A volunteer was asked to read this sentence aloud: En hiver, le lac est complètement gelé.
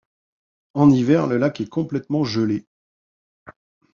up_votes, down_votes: 2, 0